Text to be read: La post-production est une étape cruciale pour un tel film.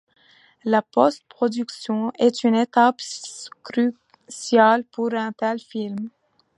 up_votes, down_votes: 1, 2